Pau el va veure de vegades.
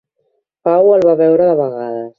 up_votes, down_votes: 2, 0